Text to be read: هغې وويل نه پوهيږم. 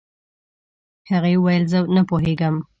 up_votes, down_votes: 0, 2